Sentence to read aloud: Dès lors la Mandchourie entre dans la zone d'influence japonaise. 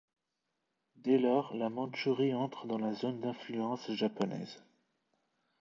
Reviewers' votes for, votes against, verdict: 1, 2, rejected